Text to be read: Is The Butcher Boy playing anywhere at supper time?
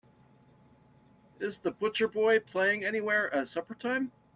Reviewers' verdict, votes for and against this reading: accepted, 3, 0